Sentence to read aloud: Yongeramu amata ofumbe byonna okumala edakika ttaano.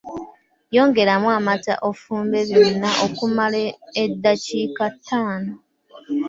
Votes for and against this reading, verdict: 2, 1, accepted